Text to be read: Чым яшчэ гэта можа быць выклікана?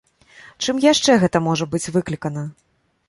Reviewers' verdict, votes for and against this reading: accepted, 2, 0